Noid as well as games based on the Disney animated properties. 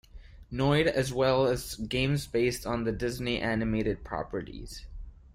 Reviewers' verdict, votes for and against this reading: accepted, 2, 0